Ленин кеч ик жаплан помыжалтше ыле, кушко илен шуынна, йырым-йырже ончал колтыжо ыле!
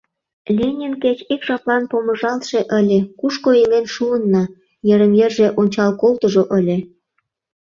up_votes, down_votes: 2, 0